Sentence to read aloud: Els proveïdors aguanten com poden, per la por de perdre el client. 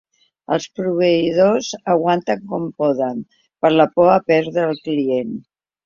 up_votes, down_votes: 0, 2